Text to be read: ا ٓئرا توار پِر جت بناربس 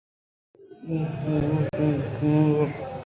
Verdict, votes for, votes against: accepted, 2, 0